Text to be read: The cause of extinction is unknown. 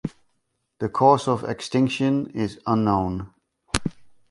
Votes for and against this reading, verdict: 2, 0, accepted